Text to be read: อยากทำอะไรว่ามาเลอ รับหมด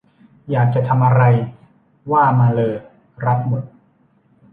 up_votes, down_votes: 1, 2